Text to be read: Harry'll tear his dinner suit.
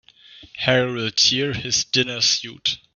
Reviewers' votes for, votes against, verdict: 3, 0, accepted